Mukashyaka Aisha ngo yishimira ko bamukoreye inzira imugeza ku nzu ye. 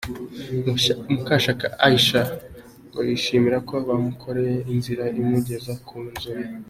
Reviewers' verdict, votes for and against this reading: accepted, 2, 0